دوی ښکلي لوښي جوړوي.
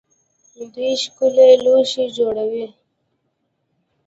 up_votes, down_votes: 2, 1